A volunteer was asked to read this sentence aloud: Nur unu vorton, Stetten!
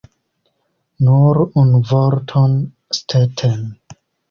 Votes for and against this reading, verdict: 2, 0, accepted